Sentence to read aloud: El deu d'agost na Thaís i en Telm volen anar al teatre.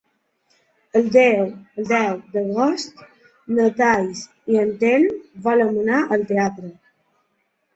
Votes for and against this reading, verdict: 1, 2, rejected